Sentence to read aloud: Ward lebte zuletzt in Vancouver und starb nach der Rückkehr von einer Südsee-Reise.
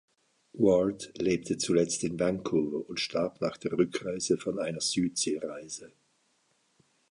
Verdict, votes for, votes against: rejected, 0, 2